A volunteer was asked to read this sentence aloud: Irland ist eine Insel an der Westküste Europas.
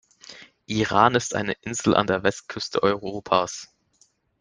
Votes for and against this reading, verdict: 1, 3, rejected